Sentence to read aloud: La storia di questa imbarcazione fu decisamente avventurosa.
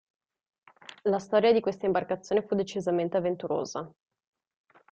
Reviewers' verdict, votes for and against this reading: rejected, 1, 2